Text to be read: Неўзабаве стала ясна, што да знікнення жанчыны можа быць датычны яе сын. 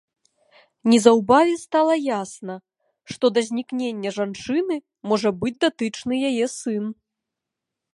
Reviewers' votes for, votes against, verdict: 0, 2, rejected